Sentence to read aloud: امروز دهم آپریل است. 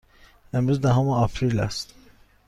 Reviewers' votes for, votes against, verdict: 2, 0, accepted